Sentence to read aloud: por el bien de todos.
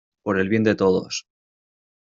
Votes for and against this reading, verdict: 2, 0, accepted